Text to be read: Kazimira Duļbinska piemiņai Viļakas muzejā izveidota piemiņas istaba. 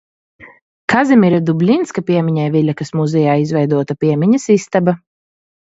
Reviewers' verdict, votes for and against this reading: rejected, 0, 2